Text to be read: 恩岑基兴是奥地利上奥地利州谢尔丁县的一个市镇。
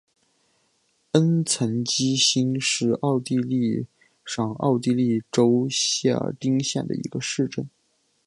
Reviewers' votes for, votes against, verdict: 2, 0, accepted